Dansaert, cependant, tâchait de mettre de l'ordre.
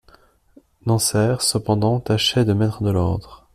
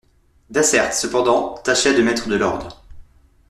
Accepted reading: first